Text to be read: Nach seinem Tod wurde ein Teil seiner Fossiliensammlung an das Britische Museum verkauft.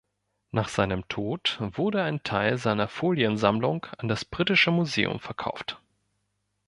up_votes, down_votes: 2, 4